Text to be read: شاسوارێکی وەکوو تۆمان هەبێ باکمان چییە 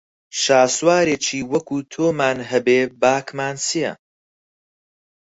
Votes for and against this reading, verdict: 4, 0, accepted